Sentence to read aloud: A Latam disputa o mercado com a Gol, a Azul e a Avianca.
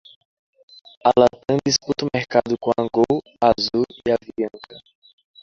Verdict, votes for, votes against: rejected, 0, 2